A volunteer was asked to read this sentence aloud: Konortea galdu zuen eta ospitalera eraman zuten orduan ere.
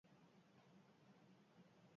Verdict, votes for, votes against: rejected, 0, 2